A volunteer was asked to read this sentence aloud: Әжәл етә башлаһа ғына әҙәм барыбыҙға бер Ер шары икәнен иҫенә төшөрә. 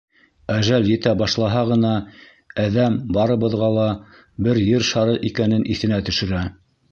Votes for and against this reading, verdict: 1, 2, rejected